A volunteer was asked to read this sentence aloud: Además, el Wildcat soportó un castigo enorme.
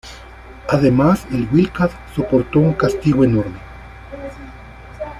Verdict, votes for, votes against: rejected, 0, 2